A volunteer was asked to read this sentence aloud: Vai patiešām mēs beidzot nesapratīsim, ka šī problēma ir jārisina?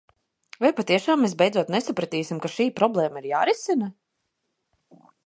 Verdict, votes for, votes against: accepted, 2, 0